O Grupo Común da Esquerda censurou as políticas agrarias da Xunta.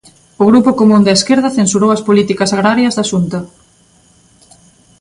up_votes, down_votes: 2, 0